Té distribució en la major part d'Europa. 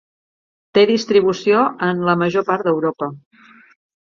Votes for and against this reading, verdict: 3, 0, accepted